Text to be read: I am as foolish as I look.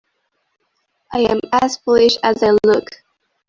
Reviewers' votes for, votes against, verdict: 1, 2, rejected